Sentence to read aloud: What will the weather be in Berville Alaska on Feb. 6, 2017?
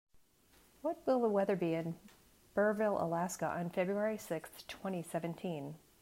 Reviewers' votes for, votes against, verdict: 0, 2, rejected